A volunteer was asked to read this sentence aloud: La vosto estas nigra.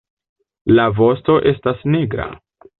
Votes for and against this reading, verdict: 2, 0, accepted